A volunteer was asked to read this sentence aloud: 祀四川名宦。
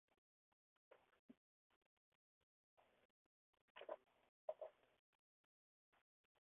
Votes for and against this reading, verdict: 0, 2, rejected